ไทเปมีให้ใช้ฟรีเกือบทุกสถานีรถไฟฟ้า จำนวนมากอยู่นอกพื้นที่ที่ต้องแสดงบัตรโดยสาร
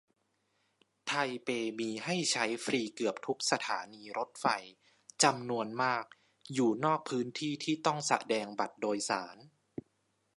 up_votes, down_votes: 0, 2